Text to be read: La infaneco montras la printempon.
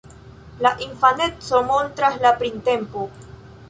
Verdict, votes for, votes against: rejected, 0, 2